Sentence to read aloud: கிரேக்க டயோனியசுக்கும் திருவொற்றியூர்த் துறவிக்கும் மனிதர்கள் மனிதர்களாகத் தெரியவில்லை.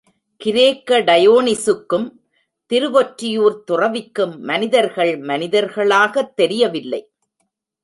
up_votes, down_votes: 1, 2